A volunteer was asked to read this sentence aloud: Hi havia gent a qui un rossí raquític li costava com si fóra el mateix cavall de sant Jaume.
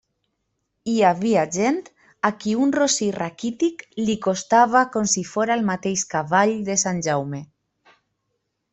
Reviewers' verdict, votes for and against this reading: accepted, 2, 0